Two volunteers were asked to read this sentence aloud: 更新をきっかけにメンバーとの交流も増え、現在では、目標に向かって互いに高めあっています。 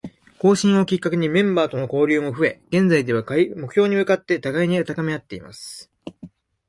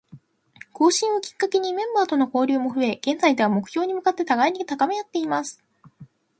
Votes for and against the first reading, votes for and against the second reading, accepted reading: 2, 1, 0, 2, first